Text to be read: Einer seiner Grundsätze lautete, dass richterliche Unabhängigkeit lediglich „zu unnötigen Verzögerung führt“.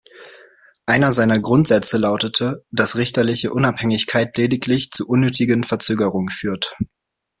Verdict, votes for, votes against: accepted, 2, 0